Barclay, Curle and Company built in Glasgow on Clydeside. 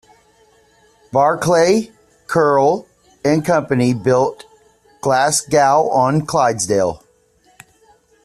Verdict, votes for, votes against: rejected, 0, 2